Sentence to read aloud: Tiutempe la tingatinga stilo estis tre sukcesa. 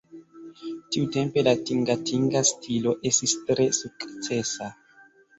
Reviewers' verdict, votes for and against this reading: accepted, 2, 1